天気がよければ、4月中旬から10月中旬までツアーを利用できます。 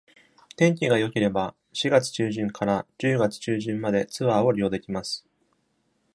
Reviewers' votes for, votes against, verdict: 0, 2, rejected